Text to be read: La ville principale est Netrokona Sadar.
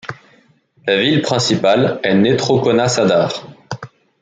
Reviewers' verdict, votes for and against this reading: accepted, 2, 0